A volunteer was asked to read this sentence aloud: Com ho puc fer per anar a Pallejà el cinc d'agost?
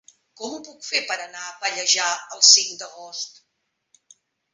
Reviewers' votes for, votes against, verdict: 3, 0, accepted